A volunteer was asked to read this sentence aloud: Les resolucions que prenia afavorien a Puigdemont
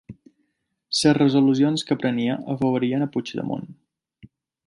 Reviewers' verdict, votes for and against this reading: rejected, 1, 2